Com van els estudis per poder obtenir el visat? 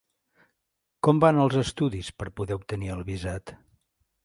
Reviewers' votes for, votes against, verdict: 4, 0, accepted